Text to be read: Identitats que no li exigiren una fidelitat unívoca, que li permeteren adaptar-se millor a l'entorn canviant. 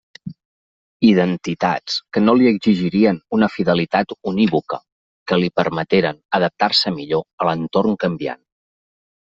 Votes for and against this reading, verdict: 0, 2, rejected